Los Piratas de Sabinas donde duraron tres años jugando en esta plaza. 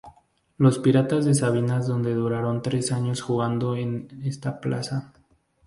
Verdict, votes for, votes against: rejected, 2, 2